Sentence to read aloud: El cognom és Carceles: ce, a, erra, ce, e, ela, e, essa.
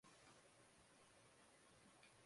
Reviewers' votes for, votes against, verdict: 0, 2, rejected